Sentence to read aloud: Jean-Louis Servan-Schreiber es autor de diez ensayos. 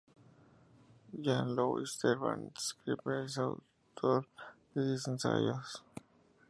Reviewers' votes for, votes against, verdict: 2, 0, accepted